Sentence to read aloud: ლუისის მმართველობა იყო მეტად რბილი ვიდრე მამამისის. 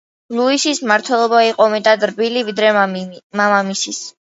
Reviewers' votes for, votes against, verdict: 0, 2, rejected